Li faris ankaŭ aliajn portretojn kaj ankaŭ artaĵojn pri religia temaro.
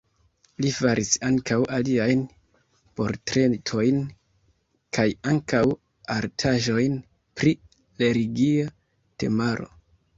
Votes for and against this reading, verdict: 0, 2, rejected